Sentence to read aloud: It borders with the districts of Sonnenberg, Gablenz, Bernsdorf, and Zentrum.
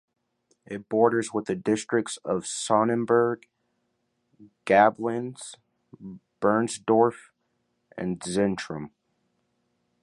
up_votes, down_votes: 2, 0